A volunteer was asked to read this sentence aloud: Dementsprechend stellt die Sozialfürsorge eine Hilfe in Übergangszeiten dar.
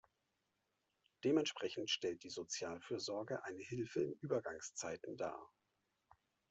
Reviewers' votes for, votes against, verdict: 2, 1, accepted